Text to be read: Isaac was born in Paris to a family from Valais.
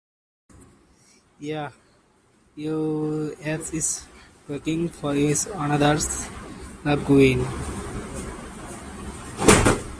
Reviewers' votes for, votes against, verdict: 0, 2, rejected